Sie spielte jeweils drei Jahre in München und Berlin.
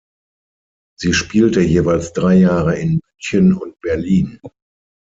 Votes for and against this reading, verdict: 3, 6, rejected